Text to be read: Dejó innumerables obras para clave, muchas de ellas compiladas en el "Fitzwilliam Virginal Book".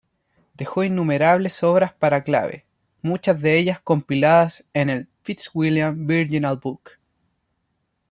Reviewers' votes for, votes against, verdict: 2, 0, accepted